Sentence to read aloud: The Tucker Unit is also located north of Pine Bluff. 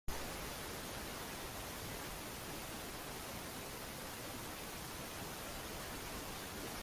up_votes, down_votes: 0, 3